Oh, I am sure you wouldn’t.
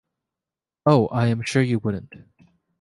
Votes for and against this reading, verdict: 3, 0, accepted